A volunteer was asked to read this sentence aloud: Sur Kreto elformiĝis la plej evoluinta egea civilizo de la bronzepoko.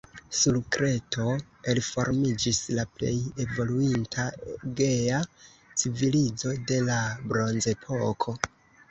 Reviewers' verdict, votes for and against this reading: rejected, 0, 2